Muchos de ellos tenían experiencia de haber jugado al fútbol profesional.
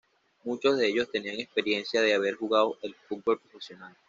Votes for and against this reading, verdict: 1, 2, rejected